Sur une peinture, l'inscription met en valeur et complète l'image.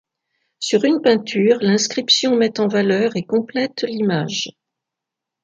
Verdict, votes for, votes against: accepted, 2, 0